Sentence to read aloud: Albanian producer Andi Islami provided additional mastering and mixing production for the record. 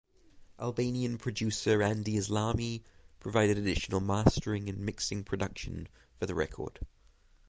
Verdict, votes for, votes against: accepted, 6, 0